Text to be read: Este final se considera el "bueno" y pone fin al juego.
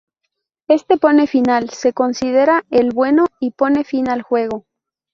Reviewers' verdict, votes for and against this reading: rejected, 0, 2